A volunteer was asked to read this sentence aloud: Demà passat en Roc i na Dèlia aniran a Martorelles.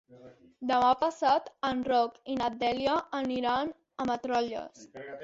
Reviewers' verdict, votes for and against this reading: rejected, 1, 2